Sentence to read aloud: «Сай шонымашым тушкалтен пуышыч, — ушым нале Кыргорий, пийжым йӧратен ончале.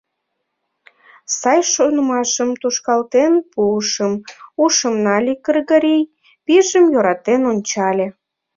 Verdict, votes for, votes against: rejected, 0, 2